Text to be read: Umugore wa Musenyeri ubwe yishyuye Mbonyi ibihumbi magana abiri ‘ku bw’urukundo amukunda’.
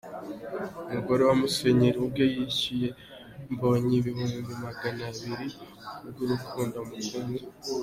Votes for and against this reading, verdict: 2, 0, accepted